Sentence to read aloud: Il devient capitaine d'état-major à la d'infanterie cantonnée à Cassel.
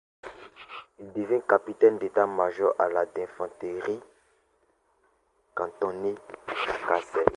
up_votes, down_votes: 0, 2